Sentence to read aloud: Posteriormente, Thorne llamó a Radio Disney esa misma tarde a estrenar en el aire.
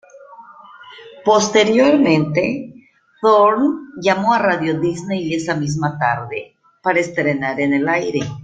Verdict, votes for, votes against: rejected, 1, 2